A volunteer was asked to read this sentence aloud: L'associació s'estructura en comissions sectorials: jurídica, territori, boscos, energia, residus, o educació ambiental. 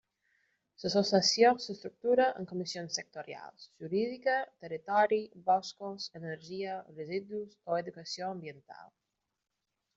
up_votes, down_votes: 0, 2